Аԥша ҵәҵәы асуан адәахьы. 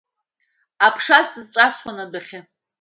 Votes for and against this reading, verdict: 1, 2, rejected